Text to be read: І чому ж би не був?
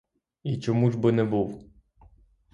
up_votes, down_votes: 3, 3